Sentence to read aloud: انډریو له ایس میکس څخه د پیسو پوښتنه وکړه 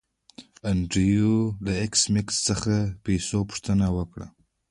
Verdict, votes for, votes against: rejected, 1, 2